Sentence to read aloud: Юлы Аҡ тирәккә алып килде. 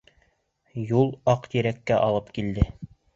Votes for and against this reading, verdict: 1, 2, rejected